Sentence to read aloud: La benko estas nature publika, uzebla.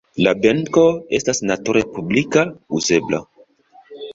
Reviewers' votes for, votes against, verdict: 2, 0, accepted